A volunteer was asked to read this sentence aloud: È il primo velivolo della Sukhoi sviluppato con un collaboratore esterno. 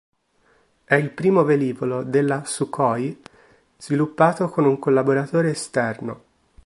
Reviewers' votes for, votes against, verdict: 2, 1, accepted